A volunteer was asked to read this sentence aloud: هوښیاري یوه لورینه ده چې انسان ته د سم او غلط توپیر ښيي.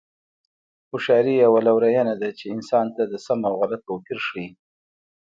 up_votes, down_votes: 1, 2